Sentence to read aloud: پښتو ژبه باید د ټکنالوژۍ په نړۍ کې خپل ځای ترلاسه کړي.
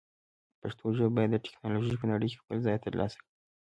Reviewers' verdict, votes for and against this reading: accepted, 2, 0